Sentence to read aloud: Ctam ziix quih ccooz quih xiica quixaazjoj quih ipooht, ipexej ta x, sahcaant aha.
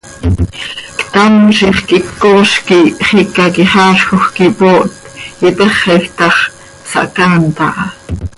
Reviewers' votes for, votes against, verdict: 2, 0, accepted